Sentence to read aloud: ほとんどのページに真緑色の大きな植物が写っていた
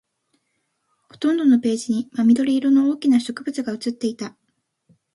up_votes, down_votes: 2, 0